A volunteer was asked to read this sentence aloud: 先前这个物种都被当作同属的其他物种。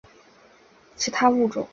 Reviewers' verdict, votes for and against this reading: rejected, 0, 3